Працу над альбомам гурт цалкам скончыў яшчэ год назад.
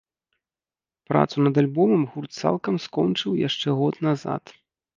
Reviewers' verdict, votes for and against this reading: accepted, 3, 0